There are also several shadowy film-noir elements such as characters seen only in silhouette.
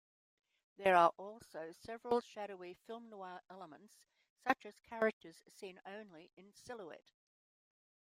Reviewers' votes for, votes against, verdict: 1, 2, rejected